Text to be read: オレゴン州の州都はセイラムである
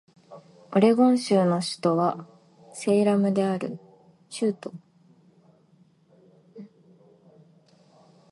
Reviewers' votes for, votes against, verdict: 0, 3, rejected